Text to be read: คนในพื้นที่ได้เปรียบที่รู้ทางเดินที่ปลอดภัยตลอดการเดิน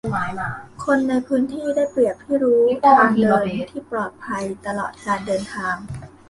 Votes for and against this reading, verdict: 0, 2, rejected